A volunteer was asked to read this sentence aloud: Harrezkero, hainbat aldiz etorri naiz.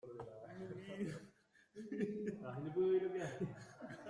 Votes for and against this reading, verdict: 0, 2, rejected